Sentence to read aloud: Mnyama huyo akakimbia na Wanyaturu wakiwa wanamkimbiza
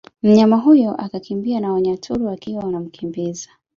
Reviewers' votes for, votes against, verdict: 3, 0, accepted